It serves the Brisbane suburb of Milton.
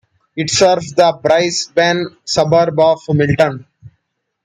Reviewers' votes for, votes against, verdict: 1, 2, rejected